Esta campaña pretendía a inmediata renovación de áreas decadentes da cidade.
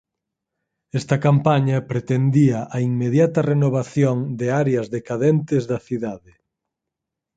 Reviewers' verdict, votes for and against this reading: accepted, 4, 0